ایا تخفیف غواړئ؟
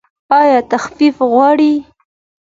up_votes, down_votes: 2, 0